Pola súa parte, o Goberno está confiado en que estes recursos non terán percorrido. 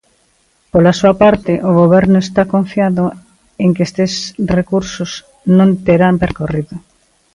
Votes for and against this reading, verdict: 2, 1, accepted